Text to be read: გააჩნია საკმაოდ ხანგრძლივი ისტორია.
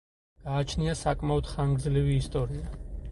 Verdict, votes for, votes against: accepted, 4, 0